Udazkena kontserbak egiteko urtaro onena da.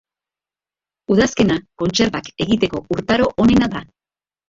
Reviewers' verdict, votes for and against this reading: rejected, 0, 2